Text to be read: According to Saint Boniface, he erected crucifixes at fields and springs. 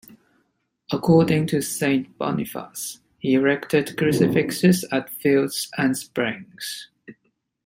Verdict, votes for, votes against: accepted, 2, 0